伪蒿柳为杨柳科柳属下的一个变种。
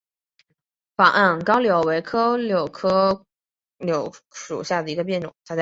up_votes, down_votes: 1, 2